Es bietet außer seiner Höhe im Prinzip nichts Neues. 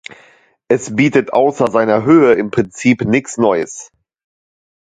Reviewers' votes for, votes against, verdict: 1, 2, rejected